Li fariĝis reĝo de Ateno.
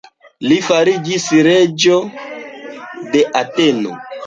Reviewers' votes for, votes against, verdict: 2, 0, accepted